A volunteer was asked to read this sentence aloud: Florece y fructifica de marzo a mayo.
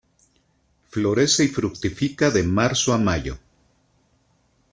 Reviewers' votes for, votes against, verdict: 2, 0, accepted